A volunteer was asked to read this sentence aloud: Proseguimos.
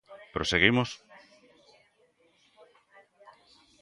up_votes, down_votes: 2, 0